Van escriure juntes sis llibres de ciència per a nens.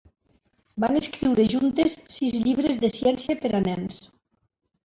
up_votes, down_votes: 3, 1